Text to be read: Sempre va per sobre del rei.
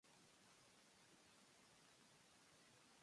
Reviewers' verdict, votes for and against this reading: rejected, 1, 3